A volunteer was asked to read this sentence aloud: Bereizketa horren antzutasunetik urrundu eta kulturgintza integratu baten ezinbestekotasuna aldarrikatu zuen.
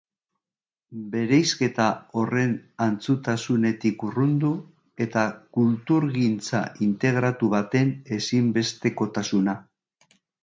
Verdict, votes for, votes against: rejected, 0, 2